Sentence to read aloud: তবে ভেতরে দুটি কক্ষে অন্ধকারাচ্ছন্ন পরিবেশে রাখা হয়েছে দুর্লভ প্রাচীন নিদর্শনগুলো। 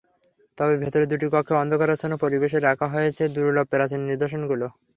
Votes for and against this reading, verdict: 3, 0, accepted